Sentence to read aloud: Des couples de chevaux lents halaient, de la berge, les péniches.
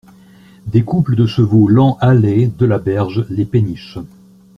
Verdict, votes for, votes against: accepted, 2, 0